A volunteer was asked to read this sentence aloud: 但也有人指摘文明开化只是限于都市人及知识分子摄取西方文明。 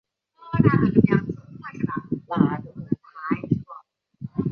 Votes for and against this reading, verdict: 0, 4, rejected